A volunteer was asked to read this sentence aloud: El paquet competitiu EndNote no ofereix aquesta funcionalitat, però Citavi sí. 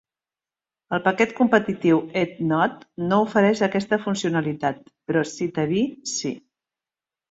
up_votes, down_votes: 1, 2